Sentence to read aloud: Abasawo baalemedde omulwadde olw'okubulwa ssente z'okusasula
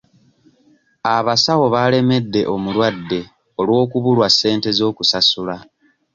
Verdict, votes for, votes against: rejected, 1, 2